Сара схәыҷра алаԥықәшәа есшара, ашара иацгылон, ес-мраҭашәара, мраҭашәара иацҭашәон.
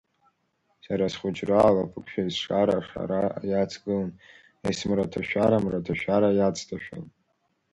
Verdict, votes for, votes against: accepted, 2, 0